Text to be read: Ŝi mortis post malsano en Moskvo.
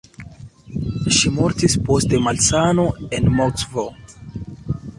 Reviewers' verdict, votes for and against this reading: rejected, 3, 4